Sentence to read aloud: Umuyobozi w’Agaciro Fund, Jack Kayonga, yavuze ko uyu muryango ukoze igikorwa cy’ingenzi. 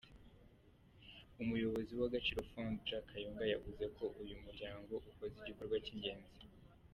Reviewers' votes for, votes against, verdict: 2, 0, accepted